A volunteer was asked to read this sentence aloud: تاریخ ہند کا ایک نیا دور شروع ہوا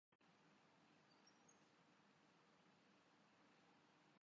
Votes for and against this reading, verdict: 3, 10, rejected